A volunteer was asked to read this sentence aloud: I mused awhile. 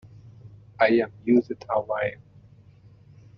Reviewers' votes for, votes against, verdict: 0, 2, rejected